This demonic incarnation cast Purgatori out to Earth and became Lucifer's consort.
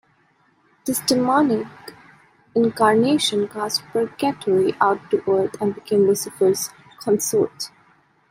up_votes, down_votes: 1, 2